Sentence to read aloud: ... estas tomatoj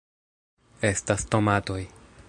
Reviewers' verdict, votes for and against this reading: accepted, 2, 0